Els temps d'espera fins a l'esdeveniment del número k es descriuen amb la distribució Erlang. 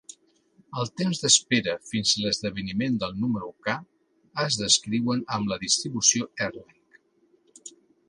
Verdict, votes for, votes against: accepted, 2, 0